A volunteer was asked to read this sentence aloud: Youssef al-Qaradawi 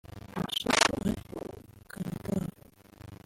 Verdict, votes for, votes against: rejected, 1, 2